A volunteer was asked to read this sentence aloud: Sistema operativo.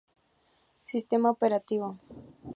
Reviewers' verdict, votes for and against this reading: accepted, 2, 0